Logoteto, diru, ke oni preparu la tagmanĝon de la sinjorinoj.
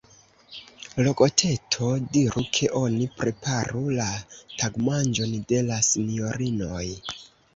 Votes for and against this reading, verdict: 0, 2, rejected